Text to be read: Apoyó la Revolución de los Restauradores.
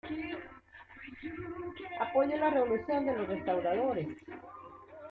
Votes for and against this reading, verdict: 0, 2, rejected